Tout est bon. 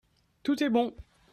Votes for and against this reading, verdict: 2, 0, accepted